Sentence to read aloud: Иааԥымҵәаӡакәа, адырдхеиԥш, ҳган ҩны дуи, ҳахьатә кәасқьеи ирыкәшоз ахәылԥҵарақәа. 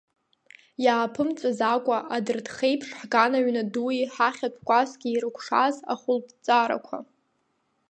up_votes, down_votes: 1, 2